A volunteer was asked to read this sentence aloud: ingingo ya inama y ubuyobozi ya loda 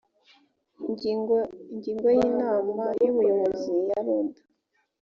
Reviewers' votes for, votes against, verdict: 0, 2, rejected